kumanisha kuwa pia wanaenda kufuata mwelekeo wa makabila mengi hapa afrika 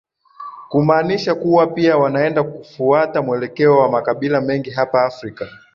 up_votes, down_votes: 2, 0